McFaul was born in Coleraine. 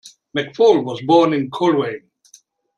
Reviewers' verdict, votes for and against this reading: accepted, 2, 0